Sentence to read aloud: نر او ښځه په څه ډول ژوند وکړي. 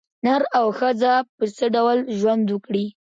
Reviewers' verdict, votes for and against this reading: rejected, 1, 2